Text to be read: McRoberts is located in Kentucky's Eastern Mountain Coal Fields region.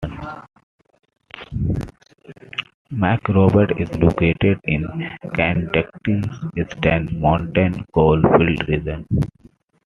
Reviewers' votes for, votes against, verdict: 1, 2, rejected